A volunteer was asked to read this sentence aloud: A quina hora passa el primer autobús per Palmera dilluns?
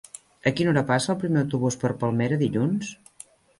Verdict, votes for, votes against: accepted, 4, 0